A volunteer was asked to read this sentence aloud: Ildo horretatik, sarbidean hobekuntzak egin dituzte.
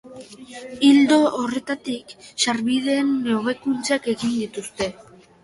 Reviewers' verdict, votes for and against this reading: rejected, 0, 3